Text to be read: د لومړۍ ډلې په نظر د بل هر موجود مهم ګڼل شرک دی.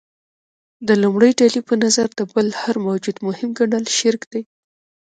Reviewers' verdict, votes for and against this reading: rejected, 1, 2